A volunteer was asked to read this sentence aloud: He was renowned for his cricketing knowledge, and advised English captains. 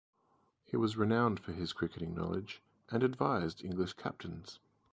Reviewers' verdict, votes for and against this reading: rejected, 0, 4